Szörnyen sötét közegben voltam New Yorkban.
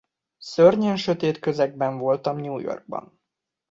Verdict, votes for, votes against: accepted, 2, 0